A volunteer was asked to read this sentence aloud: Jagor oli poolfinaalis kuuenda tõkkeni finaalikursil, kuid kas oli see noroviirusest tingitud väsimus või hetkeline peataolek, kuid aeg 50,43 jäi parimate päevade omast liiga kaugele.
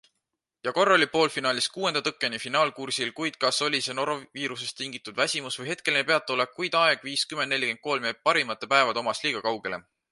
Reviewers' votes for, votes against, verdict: 0, 2, rejected